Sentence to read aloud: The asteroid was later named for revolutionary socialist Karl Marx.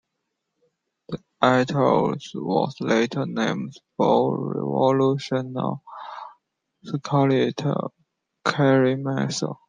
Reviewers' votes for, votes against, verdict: 0, 2, rejected